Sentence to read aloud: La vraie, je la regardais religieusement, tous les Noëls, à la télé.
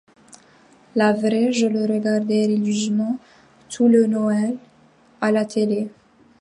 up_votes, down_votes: 0, 2